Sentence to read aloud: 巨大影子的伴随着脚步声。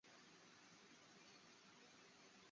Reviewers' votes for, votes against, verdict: 0, 2, rejected